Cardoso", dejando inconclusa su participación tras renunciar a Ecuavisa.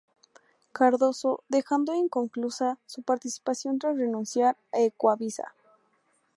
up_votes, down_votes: 2, 0